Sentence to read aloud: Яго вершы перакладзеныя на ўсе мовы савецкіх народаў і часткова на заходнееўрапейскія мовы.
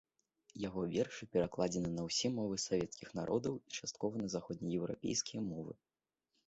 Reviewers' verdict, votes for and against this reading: accepted, 2, 0